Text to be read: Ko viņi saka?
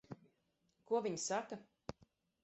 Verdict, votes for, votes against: rejected, 2, 4